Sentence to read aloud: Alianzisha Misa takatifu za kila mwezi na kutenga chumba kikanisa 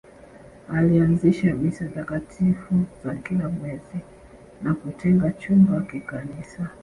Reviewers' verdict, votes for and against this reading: rejected, 1, 2